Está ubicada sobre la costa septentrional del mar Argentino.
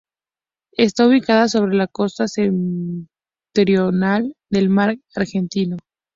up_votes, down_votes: 0, 2